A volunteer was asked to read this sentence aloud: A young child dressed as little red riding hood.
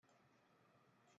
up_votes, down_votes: 0, 2